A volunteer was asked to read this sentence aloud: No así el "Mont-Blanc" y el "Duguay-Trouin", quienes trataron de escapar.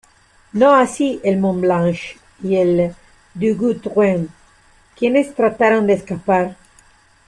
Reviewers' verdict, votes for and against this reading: accepted, 2, 1